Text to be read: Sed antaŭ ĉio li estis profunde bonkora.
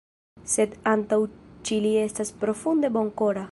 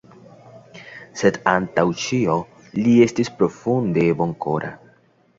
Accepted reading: second